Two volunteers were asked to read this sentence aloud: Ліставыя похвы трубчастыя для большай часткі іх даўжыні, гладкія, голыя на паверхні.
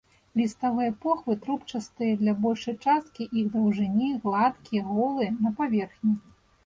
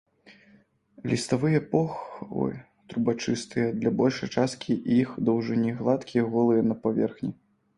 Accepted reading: first